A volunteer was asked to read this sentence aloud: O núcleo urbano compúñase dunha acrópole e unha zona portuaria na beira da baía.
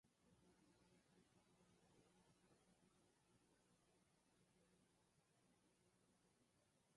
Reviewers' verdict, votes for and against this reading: rejected, 0, 4